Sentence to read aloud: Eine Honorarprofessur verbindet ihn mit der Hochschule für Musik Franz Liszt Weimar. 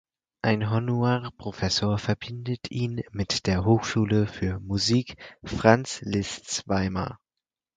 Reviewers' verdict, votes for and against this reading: rejected, 2, 4